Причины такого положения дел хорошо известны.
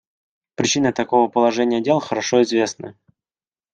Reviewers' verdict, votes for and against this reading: accepted, 2, 0